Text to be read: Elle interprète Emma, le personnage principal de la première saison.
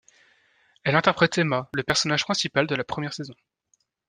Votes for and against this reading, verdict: 2, 0, accepted